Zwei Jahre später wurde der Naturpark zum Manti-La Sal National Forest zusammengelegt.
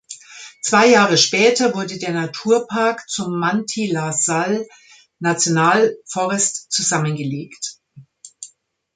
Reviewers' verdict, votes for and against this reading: rejected, 1, 2